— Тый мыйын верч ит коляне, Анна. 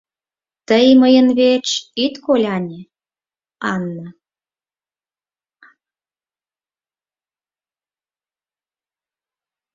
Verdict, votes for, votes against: accepted, 4, 2